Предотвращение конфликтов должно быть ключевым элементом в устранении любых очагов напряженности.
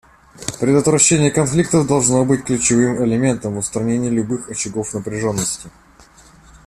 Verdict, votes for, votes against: accepted, 2, 0